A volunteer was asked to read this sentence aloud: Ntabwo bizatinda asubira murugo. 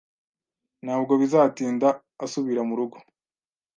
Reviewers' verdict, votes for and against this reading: accepted, 2, 0